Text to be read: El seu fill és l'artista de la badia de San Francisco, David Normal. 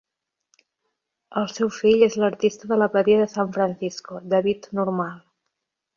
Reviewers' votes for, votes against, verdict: 0, 2, rejected